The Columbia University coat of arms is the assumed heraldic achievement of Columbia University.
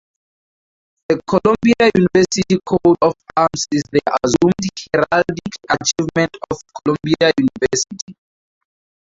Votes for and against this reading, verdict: 0, 2, rejected